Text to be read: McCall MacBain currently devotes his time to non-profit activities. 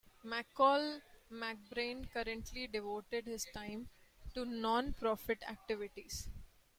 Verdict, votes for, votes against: rejected, 0, 2